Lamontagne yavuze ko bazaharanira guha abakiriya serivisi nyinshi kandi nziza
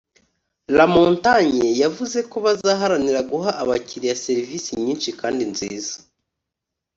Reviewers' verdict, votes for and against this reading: accepted, 2, 0